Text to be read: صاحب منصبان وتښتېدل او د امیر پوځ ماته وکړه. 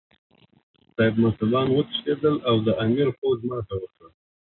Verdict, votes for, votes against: rejected, 2, 4